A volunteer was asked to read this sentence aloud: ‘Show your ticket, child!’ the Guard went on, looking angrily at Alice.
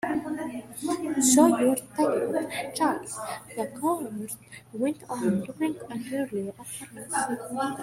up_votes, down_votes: 1, 2